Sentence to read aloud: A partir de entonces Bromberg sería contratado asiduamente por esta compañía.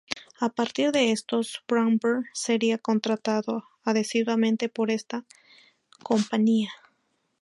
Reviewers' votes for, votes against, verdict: 0, 2, rejected